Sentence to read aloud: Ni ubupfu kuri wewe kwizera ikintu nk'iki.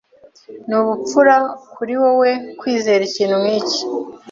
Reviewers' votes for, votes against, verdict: 1, 2, rejected